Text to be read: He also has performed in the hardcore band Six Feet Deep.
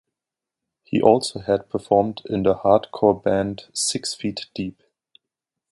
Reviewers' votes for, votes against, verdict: 2, 1, accepted